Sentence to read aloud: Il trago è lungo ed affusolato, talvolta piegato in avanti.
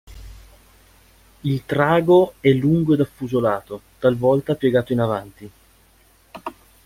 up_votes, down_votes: 2, 0